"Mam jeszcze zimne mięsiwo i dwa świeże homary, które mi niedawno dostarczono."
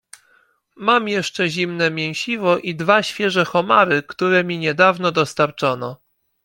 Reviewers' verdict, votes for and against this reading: accepted, 2, 0